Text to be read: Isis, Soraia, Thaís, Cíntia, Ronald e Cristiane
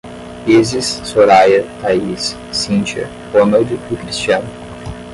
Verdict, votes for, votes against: accepted, 5, 0